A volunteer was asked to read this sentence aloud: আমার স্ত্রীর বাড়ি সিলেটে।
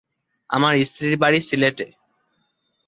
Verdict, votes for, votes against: rejected, 1, 2